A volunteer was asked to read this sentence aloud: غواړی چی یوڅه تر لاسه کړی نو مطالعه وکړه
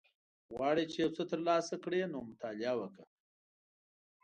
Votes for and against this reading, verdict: 2, 0, accepted